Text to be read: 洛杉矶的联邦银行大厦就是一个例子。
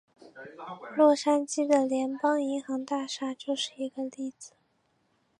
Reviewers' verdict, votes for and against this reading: accepted, 3, 1